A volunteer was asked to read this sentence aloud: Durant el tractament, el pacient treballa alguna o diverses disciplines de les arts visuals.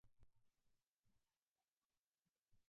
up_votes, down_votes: 0, 2